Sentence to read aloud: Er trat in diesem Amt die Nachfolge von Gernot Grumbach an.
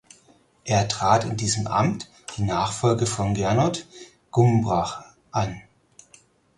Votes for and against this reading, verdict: 0, 4, rejected